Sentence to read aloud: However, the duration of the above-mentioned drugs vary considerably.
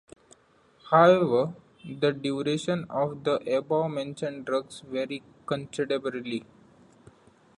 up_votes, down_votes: 0, 2